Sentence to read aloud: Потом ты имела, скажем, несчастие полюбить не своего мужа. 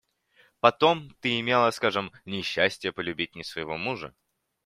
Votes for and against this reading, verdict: 2, 0, accepted